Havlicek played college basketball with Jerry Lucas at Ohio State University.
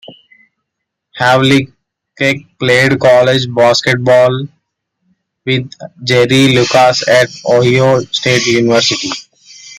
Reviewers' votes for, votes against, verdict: 2, 1, accepted